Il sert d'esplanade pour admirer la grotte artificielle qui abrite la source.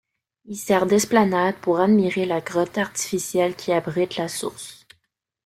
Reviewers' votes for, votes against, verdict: 2, 0, accepted